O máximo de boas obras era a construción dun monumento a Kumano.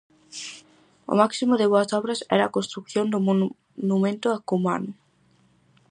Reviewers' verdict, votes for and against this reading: rejected, 0, 4